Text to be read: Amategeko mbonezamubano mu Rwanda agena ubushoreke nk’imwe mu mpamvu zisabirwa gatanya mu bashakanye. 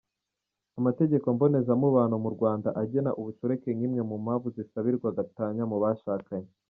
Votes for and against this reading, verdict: 2, 0, accepted